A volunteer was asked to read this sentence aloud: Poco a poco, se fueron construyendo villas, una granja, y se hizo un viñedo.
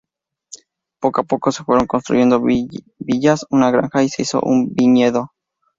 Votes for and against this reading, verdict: 2, 0, accepted